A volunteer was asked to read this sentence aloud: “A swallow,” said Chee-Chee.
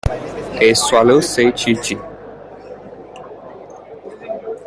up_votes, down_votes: 2, 1